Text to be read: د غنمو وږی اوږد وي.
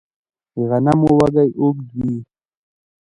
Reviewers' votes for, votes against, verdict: 0, 2, rejected